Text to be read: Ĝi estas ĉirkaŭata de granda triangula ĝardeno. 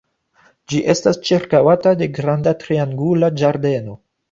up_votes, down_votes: 2, 0